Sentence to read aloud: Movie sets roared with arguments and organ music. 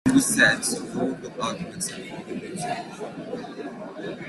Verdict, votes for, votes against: rejected, 0, 2